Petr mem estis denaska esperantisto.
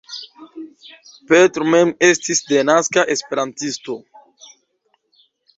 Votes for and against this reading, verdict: 2, 0, accepted